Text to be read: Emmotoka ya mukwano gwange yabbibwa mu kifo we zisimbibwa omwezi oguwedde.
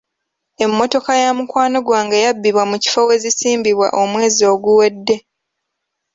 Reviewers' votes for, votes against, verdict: 2, 0, accepted